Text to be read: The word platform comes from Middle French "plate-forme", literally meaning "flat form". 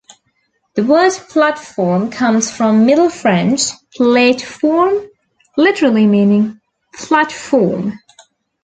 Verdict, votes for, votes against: accepted, 2, 0